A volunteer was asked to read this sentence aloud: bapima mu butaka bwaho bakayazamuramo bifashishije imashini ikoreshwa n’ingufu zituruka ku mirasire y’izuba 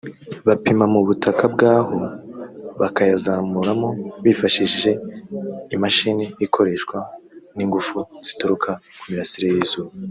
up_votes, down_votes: 2, 0